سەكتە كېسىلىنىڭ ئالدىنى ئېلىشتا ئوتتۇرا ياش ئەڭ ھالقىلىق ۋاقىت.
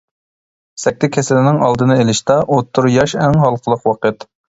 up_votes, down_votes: 2, 0